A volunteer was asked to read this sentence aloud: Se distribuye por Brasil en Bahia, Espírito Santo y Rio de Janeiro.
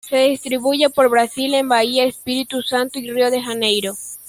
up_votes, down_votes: 2, 1